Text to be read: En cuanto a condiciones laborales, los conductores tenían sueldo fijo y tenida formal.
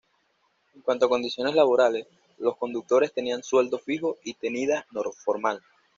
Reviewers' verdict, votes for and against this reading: accepted, 2, 0